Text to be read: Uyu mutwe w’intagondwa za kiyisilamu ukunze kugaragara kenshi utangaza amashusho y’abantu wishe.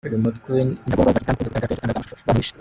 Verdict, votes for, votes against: rejected, 0, 2